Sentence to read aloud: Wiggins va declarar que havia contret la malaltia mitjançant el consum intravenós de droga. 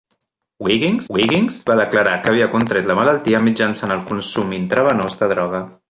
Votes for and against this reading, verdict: 0, 2, rejected